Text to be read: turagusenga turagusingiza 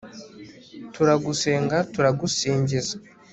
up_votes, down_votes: 2, 0